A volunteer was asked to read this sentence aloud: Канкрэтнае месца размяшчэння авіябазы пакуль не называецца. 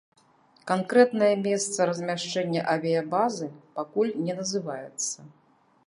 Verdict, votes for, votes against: accepted, 2, 0